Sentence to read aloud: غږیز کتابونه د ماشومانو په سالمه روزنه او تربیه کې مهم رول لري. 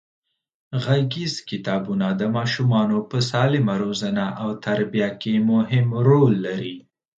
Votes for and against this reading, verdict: 2, 0, accepted